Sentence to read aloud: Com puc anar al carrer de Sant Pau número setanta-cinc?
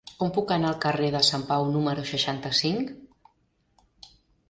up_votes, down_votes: 0, 3